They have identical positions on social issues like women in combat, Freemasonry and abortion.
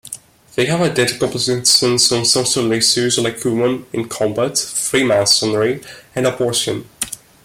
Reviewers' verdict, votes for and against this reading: rejected, 1, 2